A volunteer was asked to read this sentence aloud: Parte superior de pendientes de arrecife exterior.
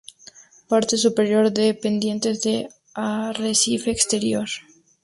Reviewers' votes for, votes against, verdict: 4, 0, accepted